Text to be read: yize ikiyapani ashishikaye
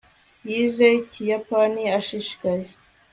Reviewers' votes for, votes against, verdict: 2, 0, accepted